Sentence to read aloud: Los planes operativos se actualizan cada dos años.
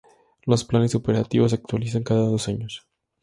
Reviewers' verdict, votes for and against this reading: accepted, 2, 0